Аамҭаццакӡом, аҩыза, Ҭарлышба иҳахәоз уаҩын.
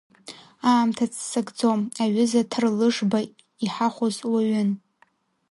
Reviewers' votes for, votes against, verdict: 0, 2, rejected